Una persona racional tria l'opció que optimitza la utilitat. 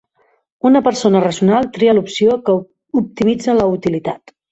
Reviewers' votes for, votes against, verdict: 0, 2, rejected